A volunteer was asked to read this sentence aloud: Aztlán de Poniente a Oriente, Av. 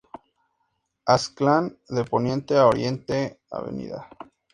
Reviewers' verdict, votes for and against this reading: accepted, 2, 0